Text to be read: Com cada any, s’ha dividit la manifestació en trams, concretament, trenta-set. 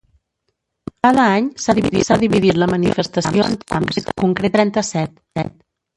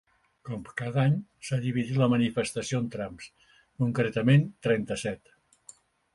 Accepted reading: second